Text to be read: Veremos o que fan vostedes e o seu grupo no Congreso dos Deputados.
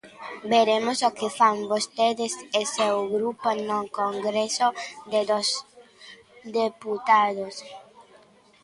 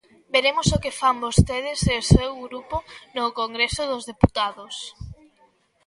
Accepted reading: second